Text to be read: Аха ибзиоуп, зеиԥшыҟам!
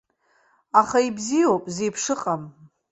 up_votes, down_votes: 2, 0